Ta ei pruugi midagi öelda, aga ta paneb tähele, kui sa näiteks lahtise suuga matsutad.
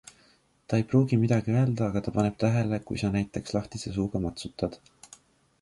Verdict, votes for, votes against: accepted, 2, 0